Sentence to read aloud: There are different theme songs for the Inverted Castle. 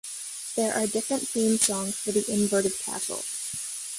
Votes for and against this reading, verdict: 2, 0, accepted